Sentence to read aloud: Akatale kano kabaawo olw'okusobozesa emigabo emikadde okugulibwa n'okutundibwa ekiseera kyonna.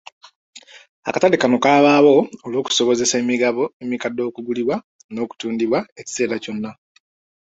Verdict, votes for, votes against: accepted, 2, 0